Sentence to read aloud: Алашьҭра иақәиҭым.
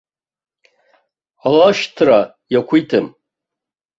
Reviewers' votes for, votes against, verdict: 0, 2, rejected